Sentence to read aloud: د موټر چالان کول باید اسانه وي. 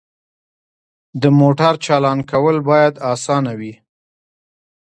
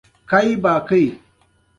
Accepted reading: second